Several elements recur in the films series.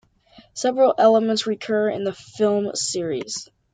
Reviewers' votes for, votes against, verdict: 2, 0, accepted